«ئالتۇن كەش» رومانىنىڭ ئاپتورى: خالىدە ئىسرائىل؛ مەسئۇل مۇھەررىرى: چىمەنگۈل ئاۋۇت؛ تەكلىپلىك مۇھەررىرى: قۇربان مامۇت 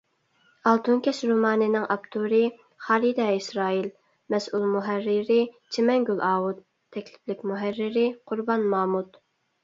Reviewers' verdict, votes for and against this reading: accepted, 3, 0